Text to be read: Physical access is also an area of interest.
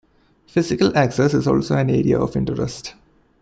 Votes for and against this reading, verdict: 2, 1, accepted